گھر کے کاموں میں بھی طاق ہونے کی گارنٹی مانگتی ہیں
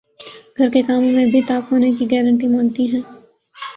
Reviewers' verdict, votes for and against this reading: accepted, 3, 0